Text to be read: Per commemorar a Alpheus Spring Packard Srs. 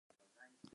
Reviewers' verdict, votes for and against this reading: rejected, 0, 4